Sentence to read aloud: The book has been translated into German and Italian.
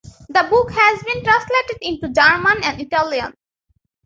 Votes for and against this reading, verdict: 2, 1, accepted